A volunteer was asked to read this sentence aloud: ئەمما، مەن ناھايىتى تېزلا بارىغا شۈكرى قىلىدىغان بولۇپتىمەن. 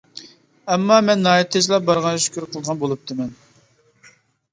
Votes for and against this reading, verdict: 0, 2, rejected